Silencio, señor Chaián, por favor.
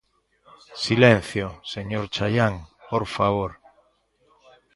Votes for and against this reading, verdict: 1, 2, rejected